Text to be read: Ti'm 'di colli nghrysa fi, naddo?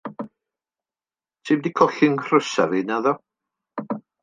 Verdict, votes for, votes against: accepted, 2, 0